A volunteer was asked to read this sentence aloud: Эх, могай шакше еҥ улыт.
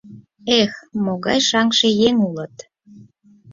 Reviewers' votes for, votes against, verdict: 0, 4, rejected